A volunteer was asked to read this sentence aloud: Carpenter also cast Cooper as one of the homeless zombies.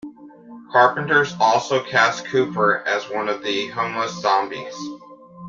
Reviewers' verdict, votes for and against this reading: accepted, 2, 0